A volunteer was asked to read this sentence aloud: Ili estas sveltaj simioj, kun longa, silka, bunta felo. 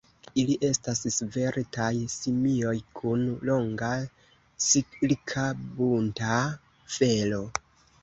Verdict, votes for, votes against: rejected, 0, 2